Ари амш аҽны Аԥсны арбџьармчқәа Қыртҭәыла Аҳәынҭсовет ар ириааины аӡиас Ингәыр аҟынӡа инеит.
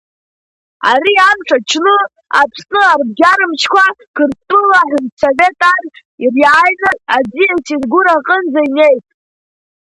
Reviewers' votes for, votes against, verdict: 2, 1, accepted